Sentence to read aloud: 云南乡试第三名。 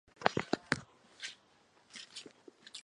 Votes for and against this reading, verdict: 0, 3, rejected